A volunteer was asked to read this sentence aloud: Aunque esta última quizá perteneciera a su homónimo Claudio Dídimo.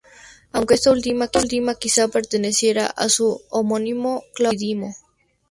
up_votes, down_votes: 0, 2